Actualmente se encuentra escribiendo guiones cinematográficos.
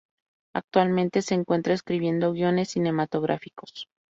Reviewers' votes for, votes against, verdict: 2, 0, accepted